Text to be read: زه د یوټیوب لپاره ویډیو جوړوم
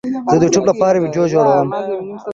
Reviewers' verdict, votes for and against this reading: accepted, 2, 0